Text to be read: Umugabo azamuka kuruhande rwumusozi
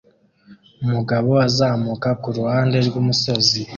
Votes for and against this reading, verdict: 2, 0, accepted